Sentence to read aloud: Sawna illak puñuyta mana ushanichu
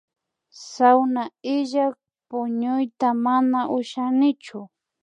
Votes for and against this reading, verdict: 2, 0, accepted